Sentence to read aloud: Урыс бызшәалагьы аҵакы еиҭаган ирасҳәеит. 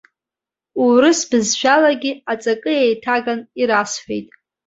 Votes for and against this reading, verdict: 2, 0, accepted